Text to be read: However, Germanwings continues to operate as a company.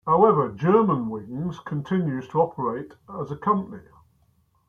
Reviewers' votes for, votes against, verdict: 0, 2, rejected